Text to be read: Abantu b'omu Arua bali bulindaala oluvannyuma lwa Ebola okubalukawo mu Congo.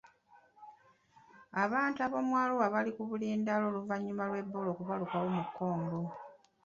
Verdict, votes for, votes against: rejected, 0, 2